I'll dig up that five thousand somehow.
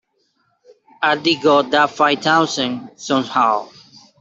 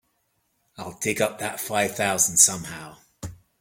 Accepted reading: second